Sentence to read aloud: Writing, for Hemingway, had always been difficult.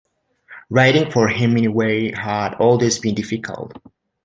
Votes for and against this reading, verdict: 2, 0, accepted